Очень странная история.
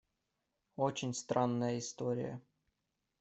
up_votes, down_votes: 2, 0